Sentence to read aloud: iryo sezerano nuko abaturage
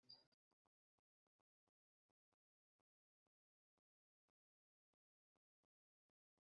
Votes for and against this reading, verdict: 1, 2, rejected